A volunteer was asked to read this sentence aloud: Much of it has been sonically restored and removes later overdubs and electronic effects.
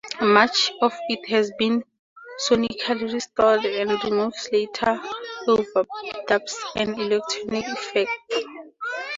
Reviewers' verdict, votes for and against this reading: rejected, 0, 4